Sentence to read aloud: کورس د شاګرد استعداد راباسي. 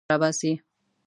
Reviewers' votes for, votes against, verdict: 0, 2, rejected